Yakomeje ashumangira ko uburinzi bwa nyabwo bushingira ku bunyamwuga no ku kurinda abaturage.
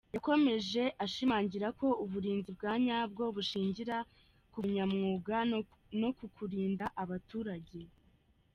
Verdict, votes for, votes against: rejected, 1, 2